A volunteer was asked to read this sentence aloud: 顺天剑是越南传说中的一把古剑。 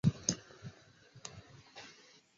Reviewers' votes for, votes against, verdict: 0, 2, rejected